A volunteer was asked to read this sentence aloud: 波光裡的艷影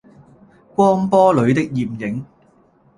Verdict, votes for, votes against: rejected, 1, 2